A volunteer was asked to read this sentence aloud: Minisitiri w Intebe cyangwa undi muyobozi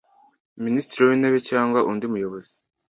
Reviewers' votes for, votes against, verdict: 2, 0, accepted